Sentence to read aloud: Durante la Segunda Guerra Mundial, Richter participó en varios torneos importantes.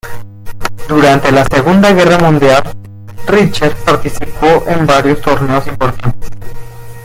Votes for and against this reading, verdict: 2, 1, accepted